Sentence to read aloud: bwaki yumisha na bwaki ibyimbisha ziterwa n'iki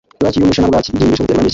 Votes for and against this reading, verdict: 0, 2, rejected